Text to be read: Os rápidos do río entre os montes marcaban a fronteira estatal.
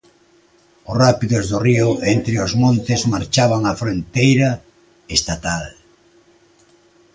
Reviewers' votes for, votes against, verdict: 0, 2, rejected